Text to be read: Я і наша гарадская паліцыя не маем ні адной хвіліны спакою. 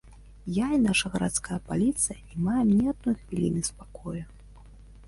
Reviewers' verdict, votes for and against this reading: accepted, 2, 0